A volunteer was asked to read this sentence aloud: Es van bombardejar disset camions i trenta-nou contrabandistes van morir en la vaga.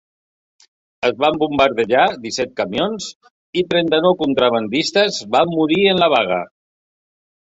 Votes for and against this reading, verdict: 2, 0, accepted